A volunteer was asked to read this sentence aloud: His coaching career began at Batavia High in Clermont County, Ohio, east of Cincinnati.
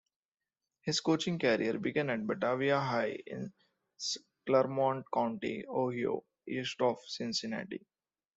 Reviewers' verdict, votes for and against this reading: rejected, 0, 2